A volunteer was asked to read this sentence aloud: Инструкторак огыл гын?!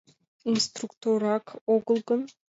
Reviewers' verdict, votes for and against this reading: accepted, 2, 0